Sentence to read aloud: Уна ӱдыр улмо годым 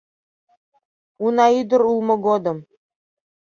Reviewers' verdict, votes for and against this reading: accepted, 2, 0